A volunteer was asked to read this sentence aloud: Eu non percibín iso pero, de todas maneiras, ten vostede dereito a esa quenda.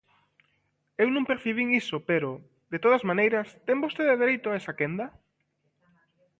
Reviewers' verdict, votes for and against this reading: accepted, 2, 0